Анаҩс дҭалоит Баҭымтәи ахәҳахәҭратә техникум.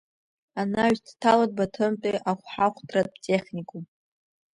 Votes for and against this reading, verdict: 3, 1, accepted